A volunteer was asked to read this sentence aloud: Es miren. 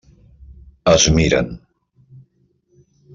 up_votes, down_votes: 3, 0